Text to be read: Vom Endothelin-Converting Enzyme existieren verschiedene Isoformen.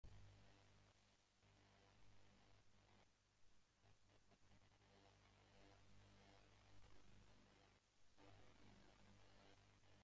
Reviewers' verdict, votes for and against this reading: rejected, 0, 2